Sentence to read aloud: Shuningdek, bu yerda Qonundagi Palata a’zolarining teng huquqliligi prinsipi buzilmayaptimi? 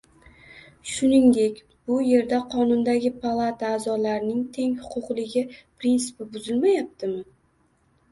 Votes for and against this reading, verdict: 2, 0, accepted